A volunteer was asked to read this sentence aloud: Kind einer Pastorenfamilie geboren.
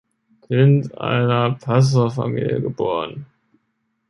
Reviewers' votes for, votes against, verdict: 0, 2, rejected